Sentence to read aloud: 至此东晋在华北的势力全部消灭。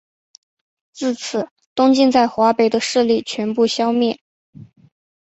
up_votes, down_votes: 2, 0